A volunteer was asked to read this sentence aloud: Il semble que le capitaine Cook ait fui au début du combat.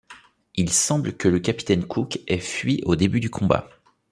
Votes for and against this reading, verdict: 4, 0, accepted